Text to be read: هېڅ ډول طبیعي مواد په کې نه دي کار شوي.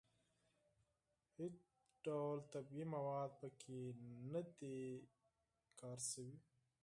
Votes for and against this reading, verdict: 2, 4, rejected